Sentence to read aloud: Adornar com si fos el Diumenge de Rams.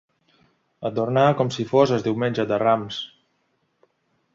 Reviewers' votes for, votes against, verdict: 2, 0, accepted